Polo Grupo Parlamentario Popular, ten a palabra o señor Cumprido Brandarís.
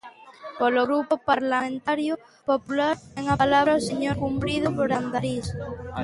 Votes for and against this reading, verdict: 1, 2, rejected